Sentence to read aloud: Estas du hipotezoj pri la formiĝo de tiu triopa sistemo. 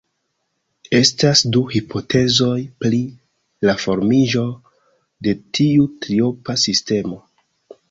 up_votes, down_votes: 1, 2